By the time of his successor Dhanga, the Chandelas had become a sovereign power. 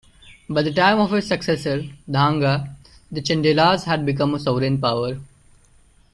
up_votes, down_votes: 0, 2